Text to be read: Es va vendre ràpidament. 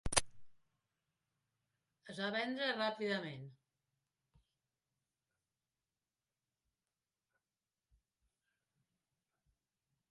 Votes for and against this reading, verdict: 0, 2, rejected